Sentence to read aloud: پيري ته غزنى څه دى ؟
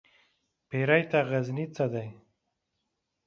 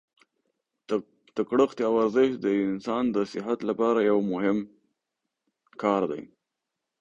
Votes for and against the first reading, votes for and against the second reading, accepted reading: 4, 0, 0, 2, first